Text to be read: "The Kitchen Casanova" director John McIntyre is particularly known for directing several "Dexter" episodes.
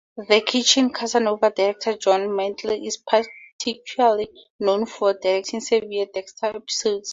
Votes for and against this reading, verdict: 2, 2, rejected